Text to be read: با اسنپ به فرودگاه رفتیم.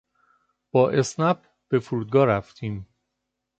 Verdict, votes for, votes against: accepted, 2, 0